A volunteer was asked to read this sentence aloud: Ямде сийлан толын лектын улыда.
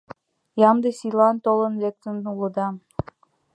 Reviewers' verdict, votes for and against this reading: accepted, 2, 0